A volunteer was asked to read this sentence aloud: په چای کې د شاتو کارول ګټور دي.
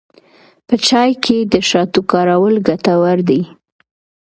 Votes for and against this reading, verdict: 2, 1, accepted